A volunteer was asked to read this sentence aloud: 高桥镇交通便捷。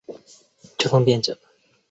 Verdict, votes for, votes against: rejected, 1, 2